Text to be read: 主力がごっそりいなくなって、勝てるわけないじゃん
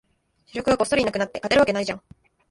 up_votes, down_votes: 1, 2